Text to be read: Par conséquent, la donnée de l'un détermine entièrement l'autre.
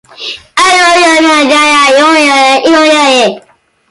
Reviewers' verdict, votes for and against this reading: rejected, 0, 2